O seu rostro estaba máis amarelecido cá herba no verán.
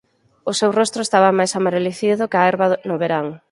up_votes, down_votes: 2, 4